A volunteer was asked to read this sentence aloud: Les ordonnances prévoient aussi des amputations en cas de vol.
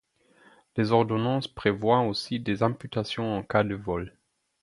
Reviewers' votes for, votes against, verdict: 4, 0, accepted